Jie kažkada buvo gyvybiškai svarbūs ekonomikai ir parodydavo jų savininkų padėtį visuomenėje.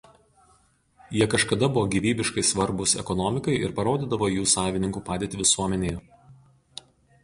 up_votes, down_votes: 0, 2